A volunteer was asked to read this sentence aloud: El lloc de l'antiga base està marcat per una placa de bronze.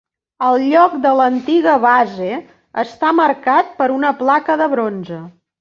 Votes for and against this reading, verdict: 3, 1, accepted